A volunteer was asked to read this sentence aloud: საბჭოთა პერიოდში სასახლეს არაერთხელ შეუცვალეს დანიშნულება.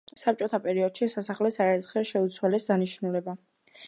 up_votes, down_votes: 2, 1